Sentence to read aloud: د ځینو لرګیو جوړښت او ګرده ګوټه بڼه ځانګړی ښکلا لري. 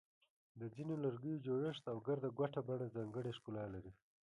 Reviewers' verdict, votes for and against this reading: rejected, 0, 2